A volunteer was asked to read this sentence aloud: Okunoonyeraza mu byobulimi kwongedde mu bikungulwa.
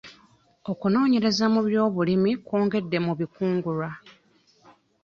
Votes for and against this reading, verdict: 1, 2, rejected